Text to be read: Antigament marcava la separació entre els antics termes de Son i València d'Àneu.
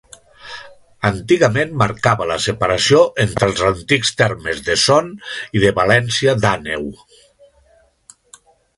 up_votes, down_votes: 0, 2